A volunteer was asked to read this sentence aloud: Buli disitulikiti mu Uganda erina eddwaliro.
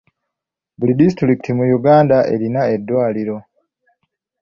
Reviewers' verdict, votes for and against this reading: accepted, 2, 1